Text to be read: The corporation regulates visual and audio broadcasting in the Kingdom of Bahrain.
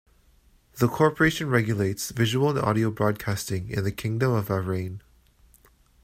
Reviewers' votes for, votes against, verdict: 1, 2, rejected